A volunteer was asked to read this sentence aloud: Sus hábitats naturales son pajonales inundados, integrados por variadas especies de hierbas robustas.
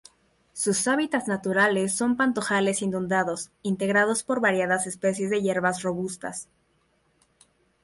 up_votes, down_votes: 0, 2